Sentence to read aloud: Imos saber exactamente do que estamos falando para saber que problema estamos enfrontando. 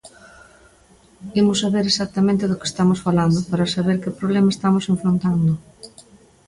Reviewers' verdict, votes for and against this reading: accepted, 2, 0